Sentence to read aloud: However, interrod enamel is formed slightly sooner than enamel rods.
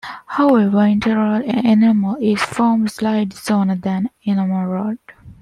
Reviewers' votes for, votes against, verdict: 1, 2, rejected